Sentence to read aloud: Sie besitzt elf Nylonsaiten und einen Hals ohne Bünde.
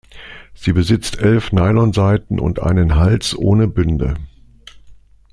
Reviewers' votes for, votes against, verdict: 2, 0, accepted